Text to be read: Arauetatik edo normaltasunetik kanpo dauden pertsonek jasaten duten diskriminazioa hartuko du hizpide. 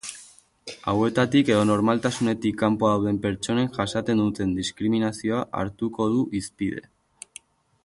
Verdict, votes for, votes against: rejected, 1, 2